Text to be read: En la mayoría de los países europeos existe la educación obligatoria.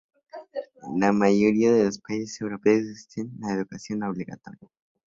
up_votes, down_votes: 2, 0